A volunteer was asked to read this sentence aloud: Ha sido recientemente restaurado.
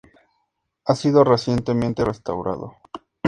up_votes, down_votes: 2, 0